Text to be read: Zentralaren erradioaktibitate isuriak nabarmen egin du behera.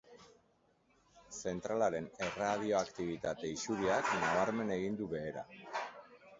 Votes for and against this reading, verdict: 1, 2, rejected